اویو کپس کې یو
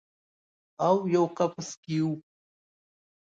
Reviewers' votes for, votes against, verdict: 1, 2, rejected